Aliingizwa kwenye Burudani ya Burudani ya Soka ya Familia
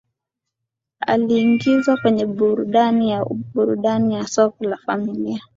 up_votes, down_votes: 1, 2